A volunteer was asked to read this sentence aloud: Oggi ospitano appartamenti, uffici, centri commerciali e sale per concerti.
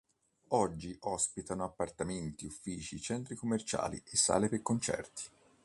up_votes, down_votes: 3, 0